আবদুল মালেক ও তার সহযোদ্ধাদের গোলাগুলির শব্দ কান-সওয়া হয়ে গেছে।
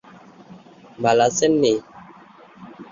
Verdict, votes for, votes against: rejected, 0, 10